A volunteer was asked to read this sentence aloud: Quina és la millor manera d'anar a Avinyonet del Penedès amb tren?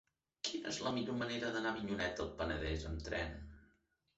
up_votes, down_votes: 2, 0